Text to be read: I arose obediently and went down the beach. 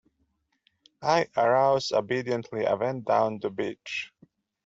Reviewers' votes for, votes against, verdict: 1, 2, rejected